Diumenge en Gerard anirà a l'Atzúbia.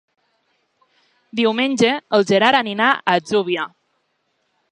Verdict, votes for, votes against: rejected, 0, 2